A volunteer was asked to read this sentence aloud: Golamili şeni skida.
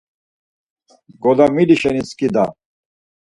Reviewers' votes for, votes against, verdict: 4, 0, accepted